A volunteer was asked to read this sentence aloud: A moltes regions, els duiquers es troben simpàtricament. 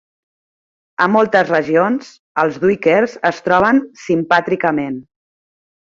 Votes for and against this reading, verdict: 3, 0, accepted